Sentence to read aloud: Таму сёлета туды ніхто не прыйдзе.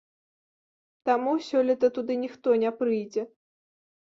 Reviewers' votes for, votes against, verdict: 2, 0, accepted